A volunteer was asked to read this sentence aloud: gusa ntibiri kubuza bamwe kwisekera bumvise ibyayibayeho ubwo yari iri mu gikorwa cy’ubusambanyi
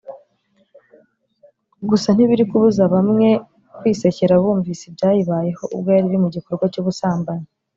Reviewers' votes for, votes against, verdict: 2, 0, accepted